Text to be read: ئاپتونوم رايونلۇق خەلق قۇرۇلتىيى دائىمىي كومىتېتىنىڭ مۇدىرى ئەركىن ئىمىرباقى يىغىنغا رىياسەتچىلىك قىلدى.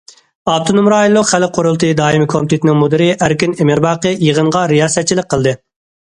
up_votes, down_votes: 2, 0